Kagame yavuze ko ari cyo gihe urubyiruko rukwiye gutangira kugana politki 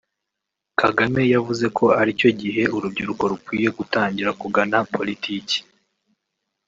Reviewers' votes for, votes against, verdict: 0, 2, rejected